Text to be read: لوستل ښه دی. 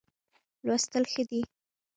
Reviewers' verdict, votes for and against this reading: accepted, 2, 0